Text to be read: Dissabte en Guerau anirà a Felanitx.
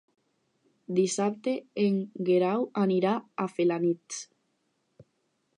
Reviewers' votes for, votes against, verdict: 4, 0, accepted